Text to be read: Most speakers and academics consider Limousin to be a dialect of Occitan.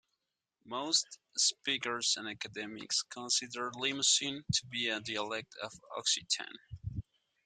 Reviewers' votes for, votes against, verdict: 2, 1, accepted